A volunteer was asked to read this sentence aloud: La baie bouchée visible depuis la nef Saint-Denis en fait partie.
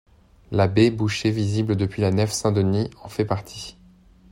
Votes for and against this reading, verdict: 2, 0, accepted